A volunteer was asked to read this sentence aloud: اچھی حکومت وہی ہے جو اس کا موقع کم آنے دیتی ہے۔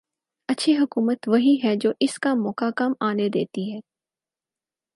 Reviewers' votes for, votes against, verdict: 4, 0, accepted